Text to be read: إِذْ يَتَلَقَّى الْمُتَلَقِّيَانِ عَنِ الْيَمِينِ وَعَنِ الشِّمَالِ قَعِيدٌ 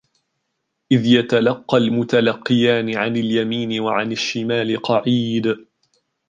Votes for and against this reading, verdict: 2, 0, accepted